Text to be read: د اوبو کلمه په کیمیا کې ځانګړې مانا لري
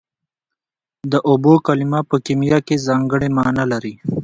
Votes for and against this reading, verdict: 2, 0, accepted